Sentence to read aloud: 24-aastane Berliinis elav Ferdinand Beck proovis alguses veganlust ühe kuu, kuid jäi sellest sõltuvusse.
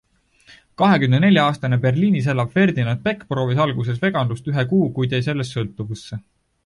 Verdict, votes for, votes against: rejected, 0, 2